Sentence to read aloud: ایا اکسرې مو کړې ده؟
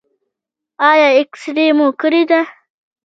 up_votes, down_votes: 2, 0